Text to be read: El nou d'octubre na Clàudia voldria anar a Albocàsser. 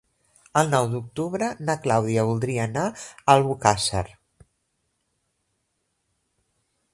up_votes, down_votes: 1, 2